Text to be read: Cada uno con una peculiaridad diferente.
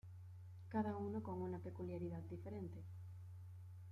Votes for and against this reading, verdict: 2, 1, accepted